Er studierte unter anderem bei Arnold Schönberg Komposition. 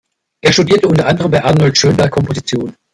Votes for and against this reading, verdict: 1, 2, rejected